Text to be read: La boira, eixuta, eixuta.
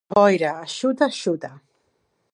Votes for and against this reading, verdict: 0, 2, rejected